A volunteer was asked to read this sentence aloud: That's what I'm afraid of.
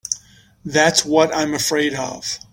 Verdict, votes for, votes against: accepted, 2, 0